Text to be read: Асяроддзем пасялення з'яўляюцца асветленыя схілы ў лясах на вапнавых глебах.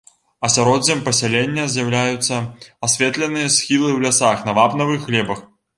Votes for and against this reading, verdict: 2, 0, accepted